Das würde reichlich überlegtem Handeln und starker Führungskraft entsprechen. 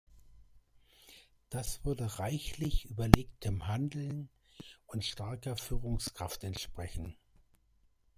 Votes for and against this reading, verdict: 0, 2, rejected